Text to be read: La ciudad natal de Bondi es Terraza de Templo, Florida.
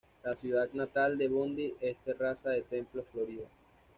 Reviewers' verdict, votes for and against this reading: accepted, 2, 0